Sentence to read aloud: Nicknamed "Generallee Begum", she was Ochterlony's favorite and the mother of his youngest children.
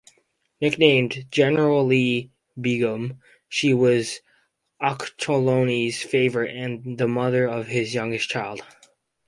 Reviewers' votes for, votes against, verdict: 4, 2, accepted